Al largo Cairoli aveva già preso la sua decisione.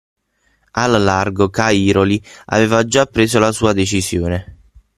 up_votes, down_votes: 3, 9